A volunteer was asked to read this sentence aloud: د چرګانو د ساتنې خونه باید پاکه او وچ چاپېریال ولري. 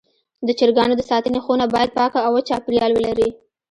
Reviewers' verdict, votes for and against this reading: accepted, 2, 0